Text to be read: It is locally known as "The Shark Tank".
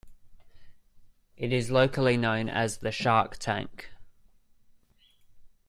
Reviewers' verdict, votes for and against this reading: accepted, 2, 0